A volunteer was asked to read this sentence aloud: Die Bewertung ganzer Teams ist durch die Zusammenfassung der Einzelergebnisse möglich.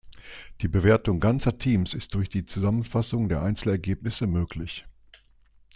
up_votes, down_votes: 2, 0